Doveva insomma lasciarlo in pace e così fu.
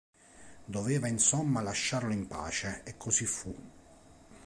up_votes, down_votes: 4, 0